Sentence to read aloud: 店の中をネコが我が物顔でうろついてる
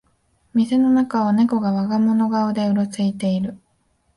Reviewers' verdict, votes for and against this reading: accepted, 2, 0